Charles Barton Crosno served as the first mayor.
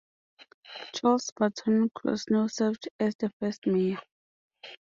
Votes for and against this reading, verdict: 1, 2, rejected